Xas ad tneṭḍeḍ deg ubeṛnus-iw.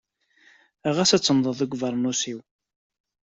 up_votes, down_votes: 0, 2